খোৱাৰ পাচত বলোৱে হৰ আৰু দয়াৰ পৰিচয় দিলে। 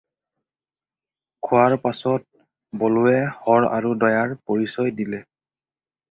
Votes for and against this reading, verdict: 4, 0, accepted